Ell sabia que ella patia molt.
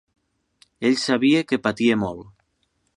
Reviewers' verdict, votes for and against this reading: rejected, 0, 2